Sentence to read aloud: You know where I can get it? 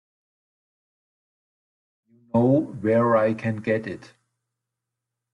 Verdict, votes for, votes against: rejected, 1, 3